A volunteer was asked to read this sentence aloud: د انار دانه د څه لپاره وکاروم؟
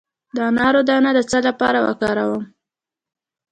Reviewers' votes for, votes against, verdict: 2, 0, accepted